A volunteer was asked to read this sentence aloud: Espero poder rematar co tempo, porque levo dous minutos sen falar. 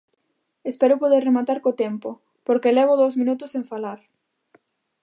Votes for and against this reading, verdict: 2, 0, accepted